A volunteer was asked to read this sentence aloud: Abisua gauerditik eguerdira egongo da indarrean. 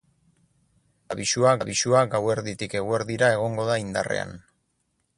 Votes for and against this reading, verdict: 2, 6, rejected